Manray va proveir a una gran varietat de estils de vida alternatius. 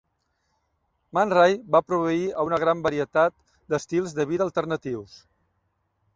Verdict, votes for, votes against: accepted, 2, 0